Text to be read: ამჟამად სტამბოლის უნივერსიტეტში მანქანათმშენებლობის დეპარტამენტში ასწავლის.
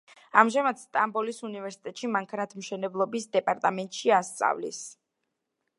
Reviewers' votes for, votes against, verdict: 2, 0, accepted